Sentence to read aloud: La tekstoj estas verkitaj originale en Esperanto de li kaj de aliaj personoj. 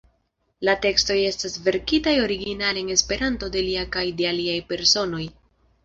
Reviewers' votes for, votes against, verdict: 1, 2, rejected